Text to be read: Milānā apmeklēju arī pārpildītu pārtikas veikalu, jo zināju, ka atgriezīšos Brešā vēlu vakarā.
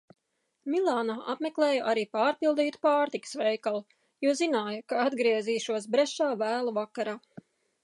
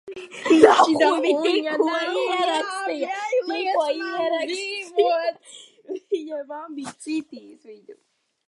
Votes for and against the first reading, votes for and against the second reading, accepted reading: 2, 0, 0, 2, first